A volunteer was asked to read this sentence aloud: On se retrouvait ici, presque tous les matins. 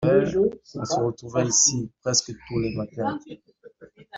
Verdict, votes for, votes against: rejected, 0, 2